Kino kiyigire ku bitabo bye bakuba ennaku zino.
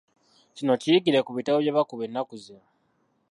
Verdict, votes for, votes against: rejected, 0, 2